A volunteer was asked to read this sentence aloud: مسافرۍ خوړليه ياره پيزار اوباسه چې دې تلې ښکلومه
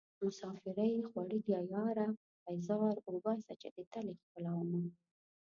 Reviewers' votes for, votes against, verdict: 0, 2, rejected